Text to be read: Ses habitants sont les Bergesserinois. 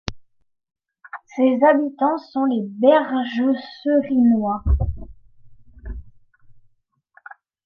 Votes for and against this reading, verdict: 0, 2, rejected